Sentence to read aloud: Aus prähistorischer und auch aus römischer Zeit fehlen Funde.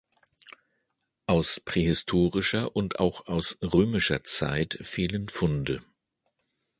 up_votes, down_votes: 2, 0